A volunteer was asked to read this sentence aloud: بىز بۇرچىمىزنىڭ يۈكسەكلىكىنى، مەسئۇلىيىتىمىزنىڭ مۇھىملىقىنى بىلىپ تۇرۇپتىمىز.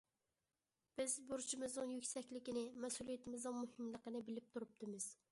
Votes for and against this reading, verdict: 2, 0, accepted